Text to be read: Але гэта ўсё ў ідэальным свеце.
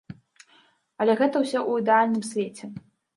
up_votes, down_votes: 2, 0